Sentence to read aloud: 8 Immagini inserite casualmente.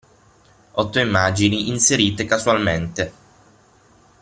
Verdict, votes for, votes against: rejected, 0, 2